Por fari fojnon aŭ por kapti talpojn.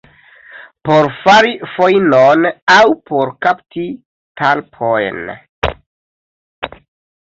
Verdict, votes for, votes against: accepted, 2, 0